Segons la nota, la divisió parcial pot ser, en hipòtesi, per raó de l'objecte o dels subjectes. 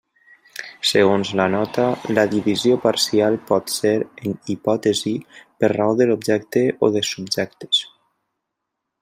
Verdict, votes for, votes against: rejected, 1, 2